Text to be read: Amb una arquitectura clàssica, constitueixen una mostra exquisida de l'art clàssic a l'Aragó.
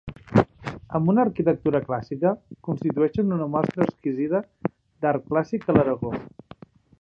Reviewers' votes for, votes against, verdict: 1, 2, rejected